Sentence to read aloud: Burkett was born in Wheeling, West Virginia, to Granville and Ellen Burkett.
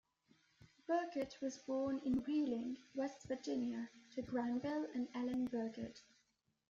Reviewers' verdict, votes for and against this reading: rejected, 1, 3